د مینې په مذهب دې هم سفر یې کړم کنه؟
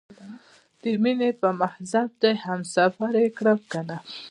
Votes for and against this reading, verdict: 2, 0, accepted